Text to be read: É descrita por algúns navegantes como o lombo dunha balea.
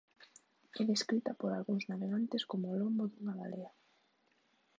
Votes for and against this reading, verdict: 0, 2, rejected